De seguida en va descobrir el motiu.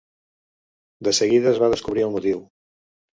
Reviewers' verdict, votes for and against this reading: rejected, 1, 2